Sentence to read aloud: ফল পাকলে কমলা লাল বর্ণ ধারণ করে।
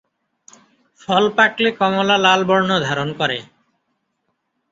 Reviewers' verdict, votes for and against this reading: accepted, 2, 0